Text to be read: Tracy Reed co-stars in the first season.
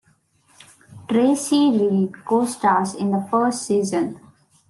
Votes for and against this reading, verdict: 2, 0, accepted